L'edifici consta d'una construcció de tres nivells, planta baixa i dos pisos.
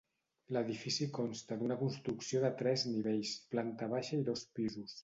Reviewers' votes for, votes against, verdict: 0, 2, rejected